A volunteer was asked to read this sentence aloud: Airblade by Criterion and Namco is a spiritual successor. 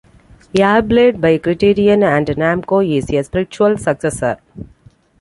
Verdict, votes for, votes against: accepted, 2, 0